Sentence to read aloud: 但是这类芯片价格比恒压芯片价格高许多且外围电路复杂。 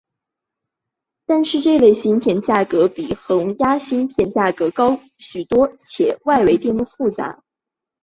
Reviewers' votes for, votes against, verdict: 2, 0, accepted